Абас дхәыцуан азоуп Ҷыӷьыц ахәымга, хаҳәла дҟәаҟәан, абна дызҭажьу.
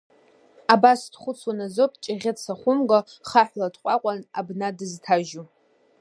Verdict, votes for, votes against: accepted, 2, 1